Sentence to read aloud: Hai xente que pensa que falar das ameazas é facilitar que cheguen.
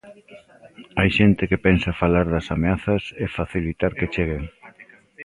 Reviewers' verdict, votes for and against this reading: rejected, 0, 2